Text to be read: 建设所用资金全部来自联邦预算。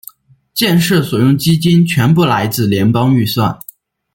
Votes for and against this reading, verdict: 1, 2, rejected